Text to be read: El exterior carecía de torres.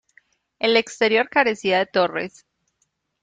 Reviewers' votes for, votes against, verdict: 2, 0, accepted